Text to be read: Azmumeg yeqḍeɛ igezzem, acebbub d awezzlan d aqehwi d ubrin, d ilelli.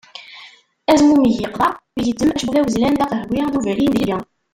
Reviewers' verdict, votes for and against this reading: rejected, 0, 2